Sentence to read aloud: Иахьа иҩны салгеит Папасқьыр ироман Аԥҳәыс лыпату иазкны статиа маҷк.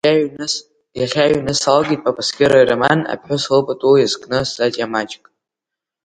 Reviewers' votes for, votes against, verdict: 2, 3, rejected